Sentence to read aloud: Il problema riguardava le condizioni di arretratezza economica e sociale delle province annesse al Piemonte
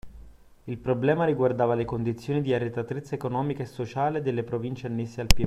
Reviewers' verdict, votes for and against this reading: rejected, 0, 2